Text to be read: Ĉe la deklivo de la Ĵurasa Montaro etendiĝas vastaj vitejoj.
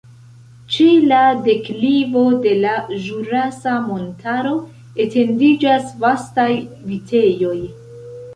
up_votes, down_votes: 2, 0